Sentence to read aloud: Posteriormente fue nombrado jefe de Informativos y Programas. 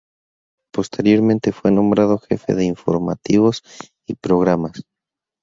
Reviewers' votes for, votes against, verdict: 2, 0, accepted